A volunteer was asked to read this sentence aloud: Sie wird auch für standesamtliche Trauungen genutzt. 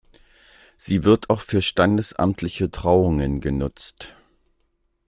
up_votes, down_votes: 2, 0